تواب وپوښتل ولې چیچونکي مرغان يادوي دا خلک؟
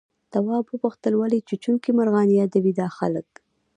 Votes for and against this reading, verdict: 0, 2, rejected